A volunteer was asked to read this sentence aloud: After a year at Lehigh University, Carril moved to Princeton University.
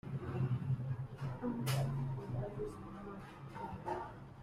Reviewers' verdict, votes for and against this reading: rejected, 0, 2